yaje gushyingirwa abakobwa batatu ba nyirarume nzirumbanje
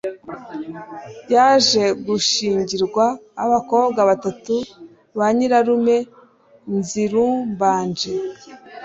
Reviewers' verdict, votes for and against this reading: accepted, 2, 0